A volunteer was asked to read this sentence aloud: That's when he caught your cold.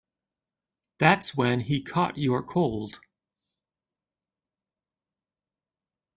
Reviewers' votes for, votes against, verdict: 2, 0, accepted